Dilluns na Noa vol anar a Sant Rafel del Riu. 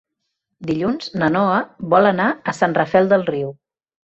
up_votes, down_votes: 3, 0